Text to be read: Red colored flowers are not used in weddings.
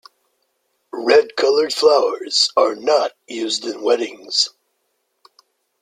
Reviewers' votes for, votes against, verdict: 2, 0, accepted